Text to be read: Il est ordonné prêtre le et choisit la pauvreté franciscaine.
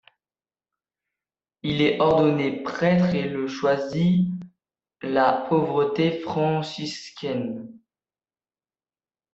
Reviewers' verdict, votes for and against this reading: rejected, 0, 2